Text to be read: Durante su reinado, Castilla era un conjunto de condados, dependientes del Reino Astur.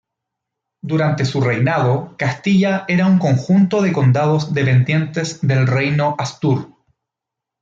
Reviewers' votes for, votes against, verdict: 2, 0, accepted